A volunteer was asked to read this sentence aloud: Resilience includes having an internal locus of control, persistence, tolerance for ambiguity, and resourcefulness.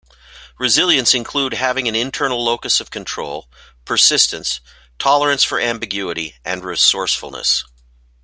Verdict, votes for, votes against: rejected, 1, 2